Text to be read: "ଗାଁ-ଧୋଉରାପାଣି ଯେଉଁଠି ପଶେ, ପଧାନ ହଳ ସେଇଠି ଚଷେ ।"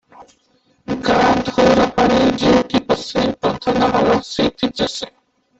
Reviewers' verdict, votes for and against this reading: rejected, 0, 2